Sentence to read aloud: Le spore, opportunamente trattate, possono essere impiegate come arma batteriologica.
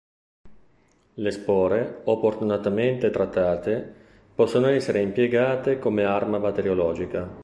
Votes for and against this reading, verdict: 0, 2, rejected